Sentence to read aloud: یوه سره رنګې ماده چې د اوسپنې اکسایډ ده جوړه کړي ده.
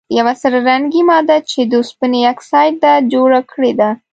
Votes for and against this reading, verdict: 0, 2, rejected